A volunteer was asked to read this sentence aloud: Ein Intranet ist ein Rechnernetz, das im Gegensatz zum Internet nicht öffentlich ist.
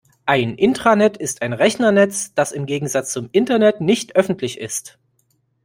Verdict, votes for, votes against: accepted, 2, 0